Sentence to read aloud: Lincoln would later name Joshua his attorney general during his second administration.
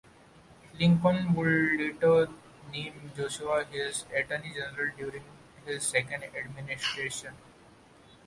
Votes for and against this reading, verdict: 1, 2, rejected